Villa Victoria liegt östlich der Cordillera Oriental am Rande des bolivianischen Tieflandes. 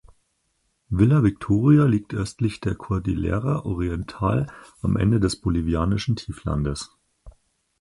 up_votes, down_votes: 2, 4